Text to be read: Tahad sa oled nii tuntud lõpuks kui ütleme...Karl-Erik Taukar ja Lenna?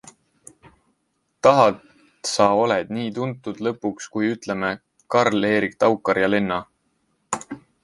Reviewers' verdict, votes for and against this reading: accepted, 2, 0